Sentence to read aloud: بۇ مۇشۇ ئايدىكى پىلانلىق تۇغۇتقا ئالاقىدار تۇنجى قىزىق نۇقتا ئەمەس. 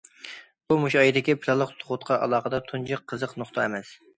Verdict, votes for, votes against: accepted, 2, 0